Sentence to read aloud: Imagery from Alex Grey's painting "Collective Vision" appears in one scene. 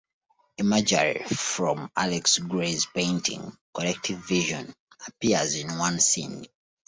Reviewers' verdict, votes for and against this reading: accepted, 2, 0